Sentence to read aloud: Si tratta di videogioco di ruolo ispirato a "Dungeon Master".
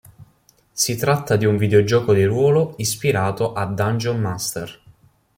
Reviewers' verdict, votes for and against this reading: rejected, 0, 2